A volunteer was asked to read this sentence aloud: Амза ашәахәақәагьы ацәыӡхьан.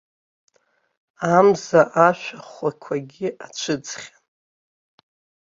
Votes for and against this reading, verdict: 1, 2, rejected